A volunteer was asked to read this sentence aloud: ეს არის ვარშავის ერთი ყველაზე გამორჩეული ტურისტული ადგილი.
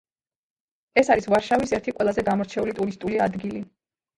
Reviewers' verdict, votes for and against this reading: accepted, 2, 1